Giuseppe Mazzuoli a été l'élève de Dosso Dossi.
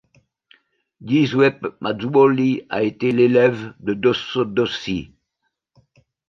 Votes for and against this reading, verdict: 1, 2, rejected